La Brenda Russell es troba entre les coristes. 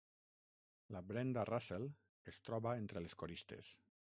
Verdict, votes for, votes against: rejected, 3, 6